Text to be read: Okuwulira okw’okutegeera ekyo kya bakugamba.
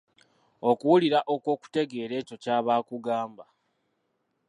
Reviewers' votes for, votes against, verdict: 2, 1, accepted